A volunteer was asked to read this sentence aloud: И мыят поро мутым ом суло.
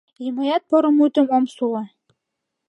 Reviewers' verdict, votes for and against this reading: accepted, 2, 0